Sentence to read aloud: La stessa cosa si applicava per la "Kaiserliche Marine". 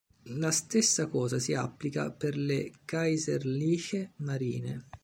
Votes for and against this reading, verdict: 0, 2, rejected